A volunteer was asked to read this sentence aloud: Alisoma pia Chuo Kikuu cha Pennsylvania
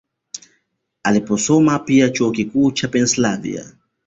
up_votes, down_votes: 0, 2